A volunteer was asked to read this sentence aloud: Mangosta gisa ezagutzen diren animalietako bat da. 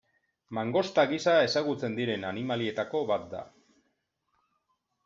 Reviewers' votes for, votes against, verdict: 2, 0, accepted